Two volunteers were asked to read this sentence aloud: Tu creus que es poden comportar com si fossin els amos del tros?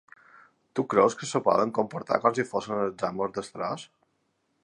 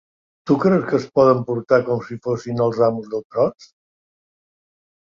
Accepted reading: second